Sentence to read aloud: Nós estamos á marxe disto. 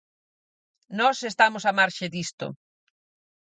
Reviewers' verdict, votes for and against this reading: accepted, 4, 0